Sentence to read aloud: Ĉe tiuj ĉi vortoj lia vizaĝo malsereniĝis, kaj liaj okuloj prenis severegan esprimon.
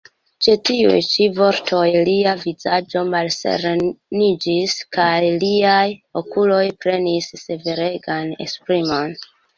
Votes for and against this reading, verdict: 2, 0, accepted